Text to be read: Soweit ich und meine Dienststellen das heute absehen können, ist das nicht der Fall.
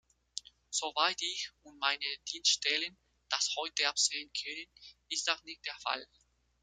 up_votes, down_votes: 2, 1